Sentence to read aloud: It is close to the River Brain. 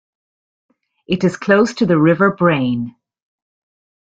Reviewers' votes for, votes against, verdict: 2, 0, accepted